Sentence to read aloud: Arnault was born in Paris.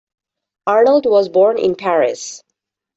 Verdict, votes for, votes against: rejected, 0, 2